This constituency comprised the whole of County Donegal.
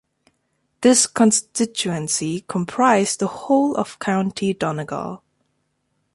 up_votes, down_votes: 2, 0